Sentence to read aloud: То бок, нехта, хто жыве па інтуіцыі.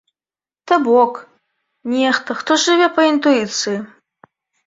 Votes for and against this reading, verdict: 2, 0, accepted